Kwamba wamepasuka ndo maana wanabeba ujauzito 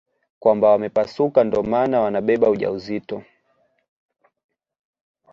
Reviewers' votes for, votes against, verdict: 2, 1, accepted